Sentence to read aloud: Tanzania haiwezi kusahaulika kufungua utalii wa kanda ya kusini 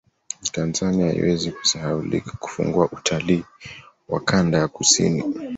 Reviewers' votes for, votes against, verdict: 2, 0, accepted